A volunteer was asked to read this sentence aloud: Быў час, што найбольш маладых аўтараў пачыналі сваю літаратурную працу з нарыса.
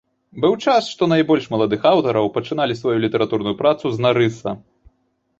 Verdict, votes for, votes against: rejected, 0, 2